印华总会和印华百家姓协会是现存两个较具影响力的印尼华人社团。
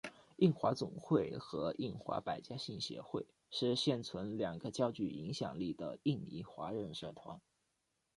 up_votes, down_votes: 0, 2